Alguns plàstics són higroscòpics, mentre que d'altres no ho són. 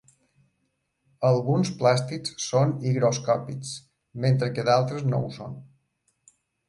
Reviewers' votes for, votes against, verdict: 2, 0, accepted